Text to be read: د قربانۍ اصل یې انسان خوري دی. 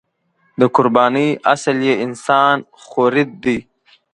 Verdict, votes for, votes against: rejected, 1, 2